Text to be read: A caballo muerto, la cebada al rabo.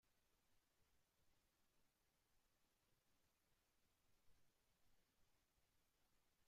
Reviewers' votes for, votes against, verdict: 0, 4, rejected